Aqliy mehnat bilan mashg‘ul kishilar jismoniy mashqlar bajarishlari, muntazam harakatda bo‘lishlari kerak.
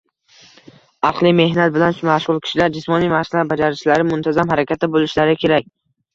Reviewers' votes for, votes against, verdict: 2, 0, accepted